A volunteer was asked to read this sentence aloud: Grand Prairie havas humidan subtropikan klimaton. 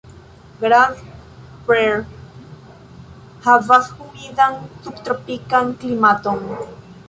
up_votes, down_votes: 2, 3